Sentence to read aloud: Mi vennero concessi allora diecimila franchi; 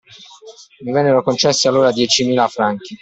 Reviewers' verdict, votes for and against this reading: accepted, 2, 0